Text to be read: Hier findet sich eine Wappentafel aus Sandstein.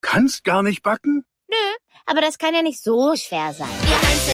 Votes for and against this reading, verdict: 0, 2, rejected